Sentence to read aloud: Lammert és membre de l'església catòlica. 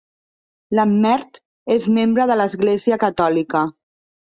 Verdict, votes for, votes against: accepted, 2, 0